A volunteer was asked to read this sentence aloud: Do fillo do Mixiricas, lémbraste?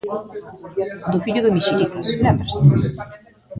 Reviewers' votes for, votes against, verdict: 0, 2, rejected